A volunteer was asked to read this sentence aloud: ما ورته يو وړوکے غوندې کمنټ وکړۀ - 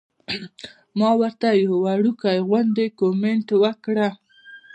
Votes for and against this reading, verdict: 1, 2, rejected